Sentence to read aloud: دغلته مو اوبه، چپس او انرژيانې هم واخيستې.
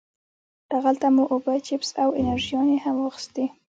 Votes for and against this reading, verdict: 1, 2, rejected